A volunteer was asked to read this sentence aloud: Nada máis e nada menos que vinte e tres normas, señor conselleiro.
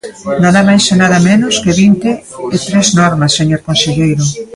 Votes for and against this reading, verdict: 0, 2, rejected